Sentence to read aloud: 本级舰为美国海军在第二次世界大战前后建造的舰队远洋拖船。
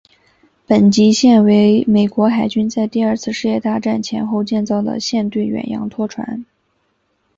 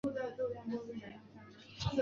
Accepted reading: first